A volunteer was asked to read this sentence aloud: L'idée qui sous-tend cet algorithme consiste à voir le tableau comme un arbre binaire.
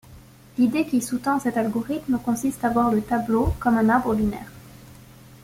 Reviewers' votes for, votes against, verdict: 2, 0, accepted